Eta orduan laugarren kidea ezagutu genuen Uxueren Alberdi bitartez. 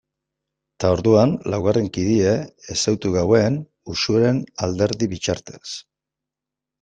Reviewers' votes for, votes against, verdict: 1, 2, rejected